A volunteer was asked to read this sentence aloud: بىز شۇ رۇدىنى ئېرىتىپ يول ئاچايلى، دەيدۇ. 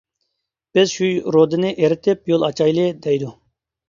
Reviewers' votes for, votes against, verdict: 1, 2, rejected